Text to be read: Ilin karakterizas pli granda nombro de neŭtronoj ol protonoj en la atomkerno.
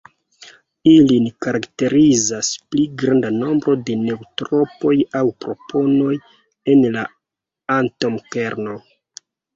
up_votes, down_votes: 1, 2